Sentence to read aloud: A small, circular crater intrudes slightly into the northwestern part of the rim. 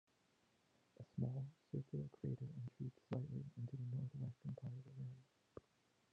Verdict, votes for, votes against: accepted, 2, 0